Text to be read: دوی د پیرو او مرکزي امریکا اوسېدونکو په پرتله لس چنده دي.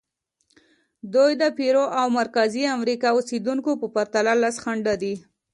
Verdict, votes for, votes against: accepted, 2, 1